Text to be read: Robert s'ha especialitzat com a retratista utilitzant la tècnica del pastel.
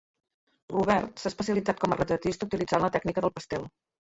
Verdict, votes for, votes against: rejected, 1, 2